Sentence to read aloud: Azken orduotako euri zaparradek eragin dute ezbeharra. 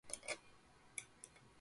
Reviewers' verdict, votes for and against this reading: rejected, 0, 2